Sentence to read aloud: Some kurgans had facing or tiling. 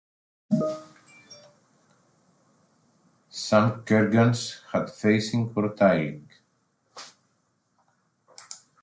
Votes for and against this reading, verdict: 1, 2, rejected